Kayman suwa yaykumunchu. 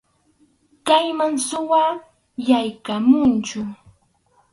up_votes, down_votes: 2, 2